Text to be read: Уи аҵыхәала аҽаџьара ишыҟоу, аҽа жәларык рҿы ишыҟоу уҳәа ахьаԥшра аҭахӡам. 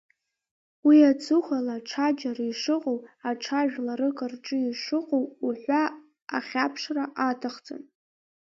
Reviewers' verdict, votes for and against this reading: accepted, 2, 0